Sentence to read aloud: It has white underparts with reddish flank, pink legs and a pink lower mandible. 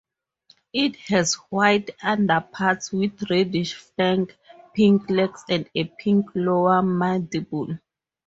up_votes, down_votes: 2, 0